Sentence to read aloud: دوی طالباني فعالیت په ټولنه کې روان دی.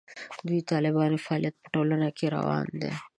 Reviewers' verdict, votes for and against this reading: rejected, 1, 2